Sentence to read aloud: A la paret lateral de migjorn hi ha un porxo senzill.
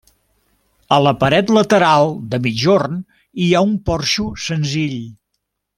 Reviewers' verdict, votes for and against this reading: accepted, 2, 0